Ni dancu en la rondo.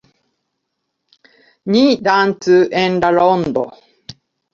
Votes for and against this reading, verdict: 1, 2, rejected